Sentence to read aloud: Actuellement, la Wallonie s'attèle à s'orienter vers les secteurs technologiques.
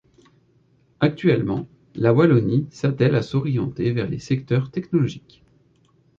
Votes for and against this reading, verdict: 2, 0, accepted